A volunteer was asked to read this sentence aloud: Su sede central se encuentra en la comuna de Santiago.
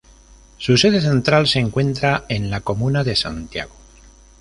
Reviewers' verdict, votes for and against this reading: rejected, 2, 2